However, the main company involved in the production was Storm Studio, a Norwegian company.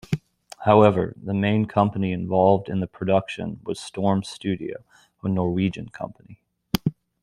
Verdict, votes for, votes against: accepted, 2, 1